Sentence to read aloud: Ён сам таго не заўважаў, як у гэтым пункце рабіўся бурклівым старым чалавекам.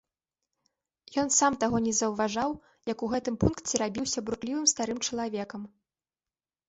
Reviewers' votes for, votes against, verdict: 2, 0, accepted